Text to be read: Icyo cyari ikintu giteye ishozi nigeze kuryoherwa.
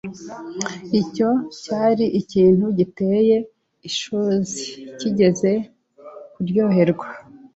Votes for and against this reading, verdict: 0, 2, rejected